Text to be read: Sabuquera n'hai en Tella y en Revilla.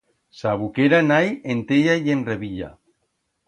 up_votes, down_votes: 2, 0